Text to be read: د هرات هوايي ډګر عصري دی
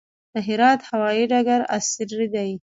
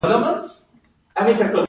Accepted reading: first